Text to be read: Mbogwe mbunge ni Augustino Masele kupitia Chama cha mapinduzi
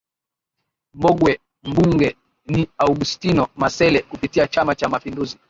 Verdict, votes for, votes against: accepted, 4, 1